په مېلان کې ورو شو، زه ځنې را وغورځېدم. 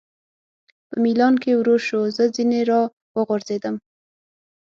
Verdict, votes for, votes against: accepted, 6, 0